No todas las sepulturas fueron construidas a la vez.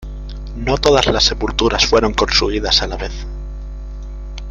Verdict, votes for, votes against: rejected, 0, 2